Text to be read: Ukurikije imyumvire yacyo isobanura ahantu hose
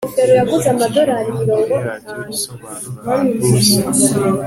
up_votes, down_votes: 2, 0